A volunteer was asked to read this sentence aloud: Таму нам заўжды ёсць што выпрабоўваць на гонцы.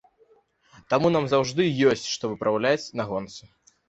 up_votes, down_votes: 1, 2